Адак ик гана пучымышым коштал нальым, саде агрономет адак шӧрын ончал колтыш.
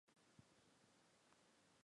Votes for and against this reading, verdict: 1, 2, rejected